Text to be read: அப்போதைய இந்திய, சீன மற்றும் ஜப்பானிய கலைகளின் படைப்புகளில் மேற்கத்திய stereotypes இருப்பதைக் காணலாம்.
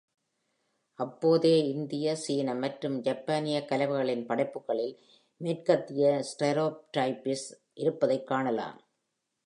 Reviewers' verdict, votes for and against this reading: rejected, 0, 2